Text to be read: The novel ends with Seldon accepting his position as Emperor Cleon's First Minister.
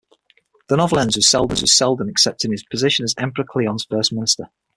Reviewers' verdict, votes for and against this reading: rejected, 3, 6